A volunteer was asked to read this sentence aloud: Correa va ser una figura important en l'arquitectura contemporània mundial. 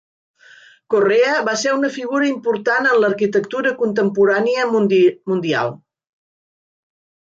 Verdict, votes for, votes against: rejected, 0, 2